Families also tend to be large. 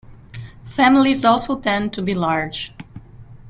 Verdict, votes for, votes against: accepted, 2, 0